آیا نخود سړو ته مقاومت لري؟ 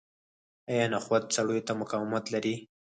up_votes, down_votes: 2, 4